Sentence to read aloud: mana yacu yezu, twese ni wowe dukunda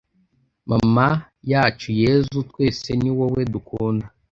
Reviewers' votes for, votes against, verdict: 0, 2, rejected